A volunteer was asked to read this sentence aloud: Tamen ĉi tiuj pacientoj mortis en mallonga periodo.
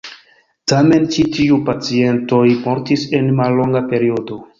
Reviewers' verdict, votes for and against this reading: accepted, 2, 0